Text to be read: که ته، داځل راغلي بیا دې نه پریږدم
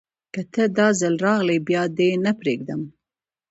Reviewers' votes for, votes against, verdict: 2, 0, accepted